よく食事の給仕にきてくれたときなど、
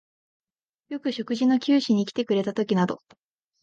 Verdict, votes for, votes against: accepted, 2, 0